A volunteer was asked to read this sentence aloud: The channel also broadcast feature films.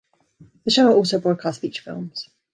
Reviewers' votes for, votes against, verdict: 2, 1, accepted